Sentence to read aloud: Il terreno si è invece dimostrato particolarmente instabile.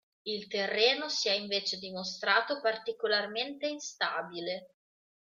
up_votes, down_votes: 2, 0